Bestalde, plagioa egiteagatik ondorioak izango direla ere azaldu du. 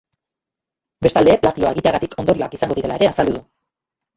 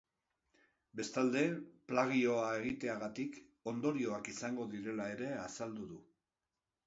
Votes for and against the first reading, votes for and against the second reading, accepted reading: 0, 2, 3, 0, second